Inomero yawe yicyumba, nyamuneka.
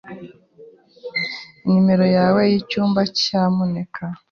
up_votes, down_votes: 0, 2